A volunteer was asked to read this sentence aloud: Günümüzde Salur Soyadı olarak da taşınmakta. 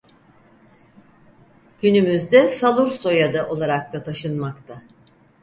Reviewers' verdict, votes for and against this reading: accepted, 4, 0